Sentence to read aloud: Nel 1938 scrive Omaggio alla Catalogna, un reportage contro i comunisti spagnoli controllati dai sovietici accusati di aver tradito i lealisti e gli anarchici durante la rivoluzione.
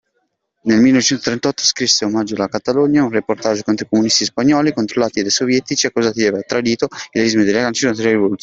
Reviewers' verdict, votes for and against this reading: rejected, 0, 2